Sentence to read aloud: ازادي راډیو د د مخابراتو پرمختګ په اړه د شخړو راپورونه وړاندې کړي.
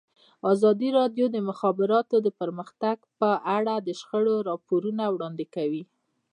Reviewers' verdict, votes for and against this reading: rejected, 0, 2